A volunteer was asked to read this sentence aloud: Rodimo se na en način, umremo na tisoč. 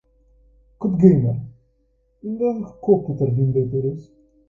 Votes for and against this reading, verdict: 0, 2, rejected